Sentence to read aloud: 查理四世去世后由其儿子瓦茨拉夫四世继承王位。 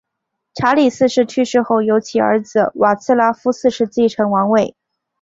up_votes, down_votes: 2, 0